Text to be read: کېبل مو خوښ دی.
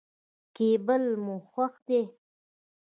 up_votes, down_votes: 2, 0